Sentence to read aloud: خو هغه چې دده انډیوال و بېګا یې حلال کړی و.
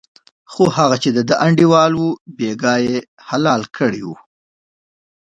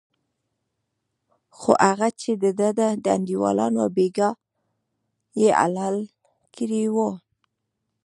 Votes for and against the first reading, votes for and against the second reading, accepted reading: 2, 1, 1, 2, first